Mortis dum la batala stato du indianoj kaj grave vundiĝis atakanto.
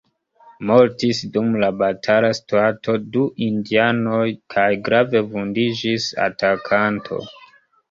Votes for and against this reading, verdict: 1, 2, rejected